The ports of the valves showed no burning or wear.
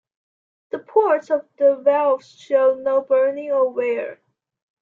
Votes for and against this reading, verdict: 2, 0, accepted